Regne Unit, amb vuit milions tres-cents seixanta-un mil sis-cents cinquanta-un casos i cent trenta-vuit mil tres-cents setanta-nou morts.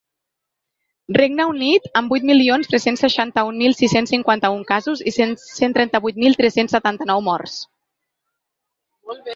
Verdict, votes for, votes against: rejected, 0, 2